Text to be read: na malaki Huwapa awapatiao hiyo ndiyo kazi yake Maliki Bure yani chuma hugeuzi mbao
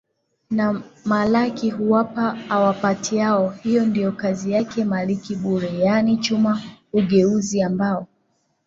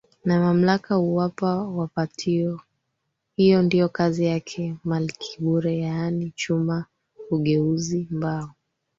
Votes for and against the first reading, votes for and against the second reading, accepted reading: 8, 2, 2, 3, first